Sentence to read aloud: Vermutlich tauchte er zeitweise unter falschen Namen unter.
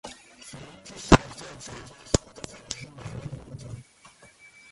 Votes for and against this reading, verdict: 0, 2, rejected